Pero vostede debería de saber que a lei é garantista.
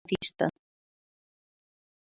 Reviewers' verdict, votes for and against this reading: rejected, 0, 2